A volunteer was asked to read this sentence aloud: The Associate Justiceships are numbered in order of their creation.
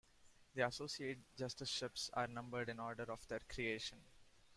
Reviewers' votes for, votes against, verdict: 2, 0, accepted